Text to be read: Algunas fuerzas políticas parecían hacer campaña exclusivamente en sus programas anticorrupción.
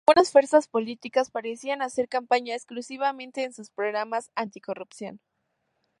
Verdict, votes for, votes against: accepted, 2, 0